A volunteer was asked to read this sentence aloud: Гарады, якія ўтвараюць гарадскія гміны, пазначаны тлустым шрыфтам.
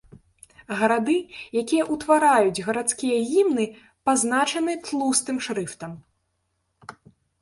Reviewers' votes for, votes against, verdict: 0, 2, rejected